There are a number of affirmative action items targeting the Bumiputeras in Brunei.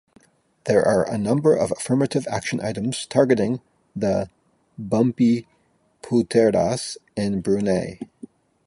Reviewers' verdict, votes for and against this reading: rejected, 0, 2